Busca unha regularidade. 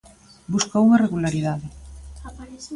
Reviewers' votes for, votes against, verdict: 1, 2, rejected